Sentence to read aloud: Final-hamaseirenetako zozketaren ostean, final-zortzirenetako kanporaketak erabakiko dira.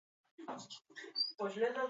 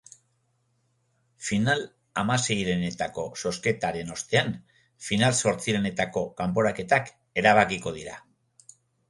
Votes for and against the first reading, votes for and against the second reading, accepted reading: 0, 6, 2, 0, second